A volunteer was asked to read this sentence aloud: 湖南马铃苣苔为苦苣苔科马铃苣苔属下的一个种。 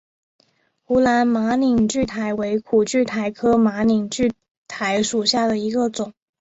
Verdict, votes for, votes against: accepted, 5, 0